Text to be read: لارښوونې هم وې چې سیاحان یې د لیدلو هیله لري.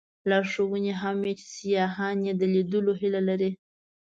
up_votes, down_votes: 2, 0